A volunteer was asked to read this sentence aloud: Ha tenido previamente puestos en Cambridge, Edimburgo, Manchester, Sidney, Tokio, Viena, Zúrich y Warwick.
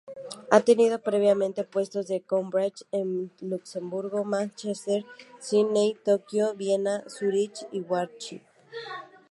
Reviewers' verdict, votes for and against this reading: rejected, 0, 2